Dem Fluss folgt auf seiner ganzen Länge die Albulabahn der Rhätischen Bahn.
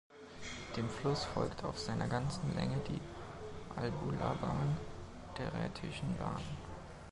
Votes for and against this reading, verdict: 2, 1, accepted